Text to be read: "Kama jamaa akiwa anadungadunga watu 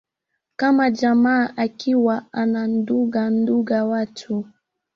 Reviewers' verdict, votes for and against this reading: rejected, 0, 2